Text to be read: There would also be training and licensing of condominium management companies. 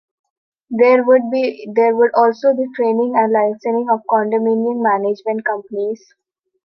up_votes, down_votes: 0, 2